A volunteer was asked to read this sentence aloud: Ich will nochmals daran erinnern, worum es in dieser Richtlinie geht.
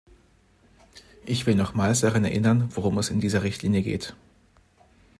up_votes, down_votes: 2, 0